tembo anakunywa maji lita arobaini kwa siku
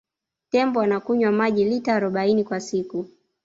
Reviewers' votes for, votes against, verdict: 2, 0, accepted